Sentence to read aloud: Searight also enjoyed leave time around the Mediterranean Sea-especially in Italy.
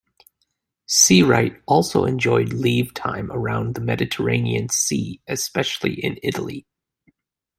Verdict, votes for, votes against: rejected, 1, 2